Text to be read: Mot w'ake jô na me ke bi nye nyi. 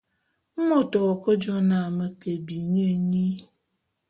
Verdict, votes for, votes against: accepted, 2, 0